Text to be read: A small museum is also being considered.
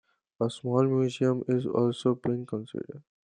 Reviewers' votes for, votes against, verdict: 2, 1, accepted